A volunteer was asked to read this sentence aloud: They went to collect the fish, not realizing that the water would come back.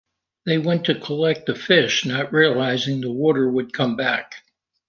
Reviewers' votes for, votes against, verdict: 2, 1, accepted